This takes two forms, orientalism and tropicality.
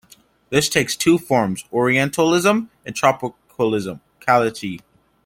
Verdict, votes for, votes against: rejected, 0, 2